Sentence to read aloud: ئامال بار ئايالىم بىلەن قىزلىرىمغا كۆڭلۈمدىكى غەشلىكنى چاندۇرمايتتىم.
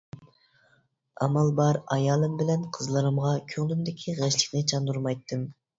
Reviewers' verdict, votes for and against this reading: accepted, 2, 0